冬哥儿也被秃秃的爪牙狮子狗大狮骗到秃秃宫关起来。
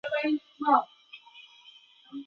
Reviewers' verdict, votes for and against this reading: rejected, 1, 2